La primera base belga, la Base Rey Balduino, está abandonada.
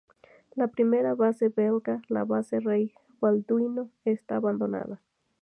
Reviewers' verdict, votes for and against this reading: accepted, 2, 0